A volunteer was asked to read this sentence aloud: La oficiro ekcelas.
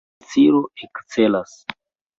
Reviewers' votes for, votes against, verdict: 0, 2, rejected